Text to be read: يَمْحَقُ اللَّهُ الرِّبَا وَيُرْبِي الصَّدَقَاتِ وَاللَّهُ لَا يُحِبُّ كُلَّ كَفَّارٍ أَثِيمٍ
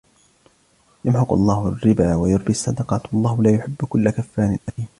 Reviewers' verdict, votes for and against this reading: accepted, 2, 0